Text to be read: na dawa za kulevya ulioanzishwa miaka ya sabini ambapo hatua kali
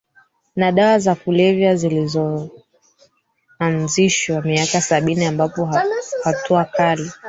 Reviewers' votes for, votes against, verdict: 0, 4, rejected